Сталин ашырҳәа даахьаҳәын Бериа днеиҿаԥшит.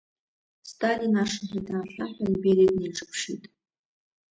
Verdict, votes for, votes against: rejected, 0, 2